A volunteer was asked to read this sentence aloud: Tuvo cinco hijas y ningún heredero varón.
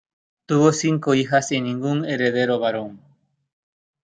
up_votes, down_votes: 2, 0